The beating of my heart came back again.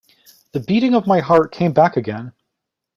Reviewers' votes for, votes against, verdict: 2, 0, accepted